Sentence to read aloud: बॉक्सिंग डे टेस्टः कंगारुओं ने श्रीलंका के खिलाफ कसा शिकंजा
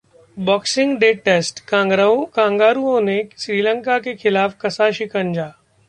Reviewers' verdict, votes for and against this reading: rejected, 0, 2